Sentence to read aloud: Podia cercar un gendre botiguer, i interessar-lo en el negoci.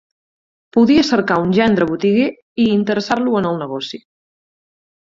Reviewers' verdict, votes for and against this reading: accepted, 6, 2